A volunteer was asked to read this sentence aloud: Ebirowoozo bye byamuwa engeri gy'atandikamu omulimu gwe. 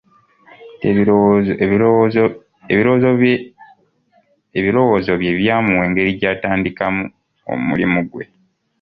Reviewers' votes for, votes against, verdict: 0, 2, rejected